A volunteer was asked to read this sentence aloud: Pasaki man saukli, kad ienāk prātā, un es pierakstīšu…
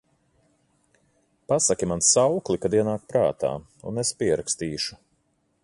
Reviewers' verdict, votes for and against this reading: accepted, 4, 0